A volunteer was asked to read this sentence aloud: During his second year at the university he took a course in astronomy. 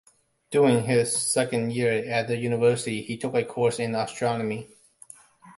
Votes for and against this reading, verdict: 2, 0, accepted